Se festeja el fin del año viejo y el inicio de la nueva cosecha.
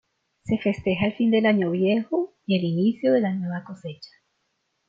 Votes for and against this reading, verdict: 2, 0, accepted